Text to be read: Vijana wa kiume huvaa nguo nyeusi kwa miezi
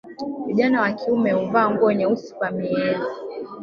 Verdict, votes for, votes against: rejected, 1, 2